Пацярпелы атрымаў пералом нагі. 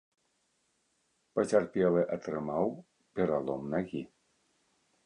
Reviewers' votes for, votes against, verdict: 2, 0, accepted